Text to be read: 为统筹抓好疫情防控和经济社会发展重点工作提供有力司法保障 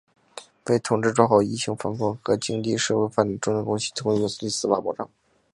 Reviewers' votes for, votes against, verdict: 2, 0, accepted